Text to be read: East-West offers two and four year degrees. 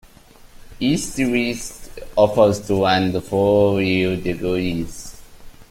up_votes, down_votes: 0, 2